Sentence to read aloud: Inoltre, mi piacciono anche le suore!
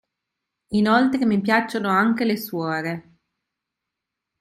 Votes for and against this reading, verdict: 3, 0, accepted